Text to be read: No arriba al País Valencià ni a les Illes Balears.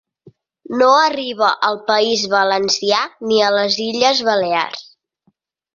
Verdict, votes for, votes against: accepted, 4, 0